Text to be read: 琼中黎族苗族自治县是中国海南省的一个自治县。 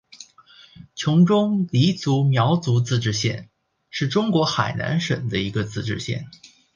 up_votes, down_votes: 1, 2